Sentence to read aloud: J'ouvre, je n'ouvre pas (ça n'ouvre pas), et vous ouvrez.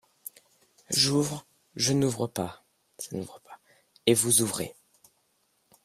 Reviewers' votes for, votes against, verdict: 1, 2, rejected